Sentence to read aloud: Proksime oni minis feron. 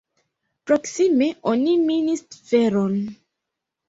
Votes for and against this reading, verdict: 0, 2, rejected